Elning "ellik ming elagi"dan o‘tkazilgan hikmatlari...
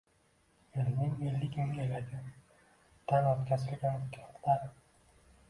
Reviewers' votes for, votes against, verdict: 0, 2, rejected